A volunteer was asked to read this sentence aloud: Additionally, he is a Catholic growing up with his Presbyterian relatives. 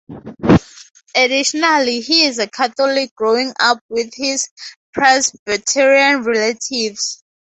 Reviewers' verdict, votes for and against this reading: accepted, 2, 0